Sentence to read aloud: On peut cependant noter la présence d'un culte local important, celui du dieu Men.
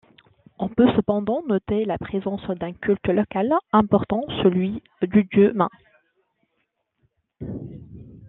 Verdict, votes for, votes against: accepted, 2, 0